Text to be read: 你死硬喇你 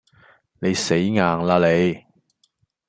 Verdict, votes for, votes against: accepted, 2, 0